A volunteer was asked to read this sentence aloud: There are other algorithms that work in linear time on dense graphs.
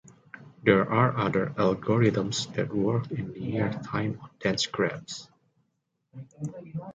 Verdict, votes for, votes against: accepted, 2, 1